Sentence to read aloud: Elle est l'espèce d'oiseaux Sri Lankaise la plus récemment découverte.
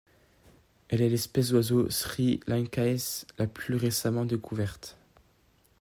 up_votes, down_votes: 1, 2